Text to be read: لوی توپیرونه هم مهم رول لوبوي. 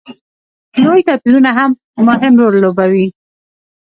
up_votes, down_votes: 2, 0